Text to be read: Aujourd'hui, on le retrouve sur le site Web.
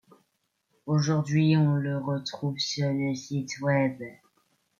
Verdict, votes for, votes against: accepted, 2, 1